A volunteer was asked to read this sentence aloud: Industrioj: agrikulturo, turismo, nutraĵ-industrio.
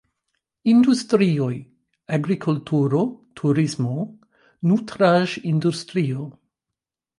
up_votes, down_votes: 2, 1